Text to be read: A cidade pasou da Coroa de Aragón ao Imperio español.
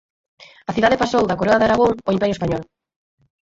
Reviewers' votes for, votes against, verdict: 4, 2, accepted